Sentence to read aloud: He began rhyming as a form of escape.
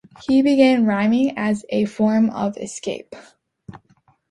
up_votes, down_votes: 2, 0